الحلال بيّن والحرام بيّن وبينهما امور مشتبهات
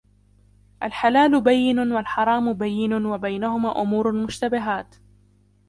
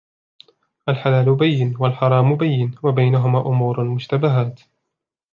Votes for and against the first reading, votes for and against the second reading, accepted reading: 0, 2, 2, 0, second